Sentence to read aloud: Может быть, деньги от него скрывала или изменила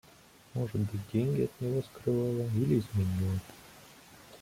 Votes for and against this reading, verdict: 0, 2, rejected